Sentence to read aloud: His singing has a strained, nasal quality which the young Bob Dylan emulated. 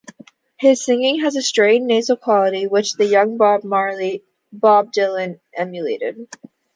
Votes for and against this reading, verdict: 0, 2, rejected